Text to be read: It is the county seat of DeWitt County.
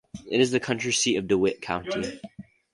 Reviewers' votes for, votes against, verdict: 0, 4, rejected